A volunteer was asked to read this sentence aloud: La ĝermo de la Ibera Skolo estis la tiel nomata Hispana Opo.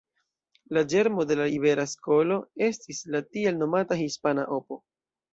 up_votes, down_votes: 2, 0